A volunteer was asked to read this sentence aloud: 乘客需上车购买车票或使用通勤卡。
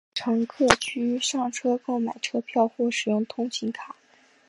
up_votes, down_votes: 2, 0